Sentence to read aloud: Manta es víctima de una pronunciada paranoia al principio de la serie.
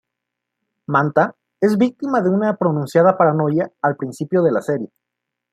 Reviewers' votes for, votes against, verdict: 2, 0, accepted